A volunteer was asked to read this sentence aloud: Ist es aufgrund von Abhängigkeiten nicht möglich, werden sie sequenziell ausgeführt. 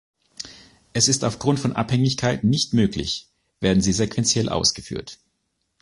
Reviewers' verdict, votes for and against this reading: rejected, 0, 2